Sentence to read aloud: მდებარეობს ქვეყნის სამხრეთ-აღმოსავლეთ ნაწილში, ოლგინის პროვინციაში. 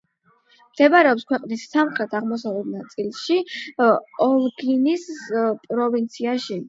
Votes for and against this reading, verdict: 8, 0, accepted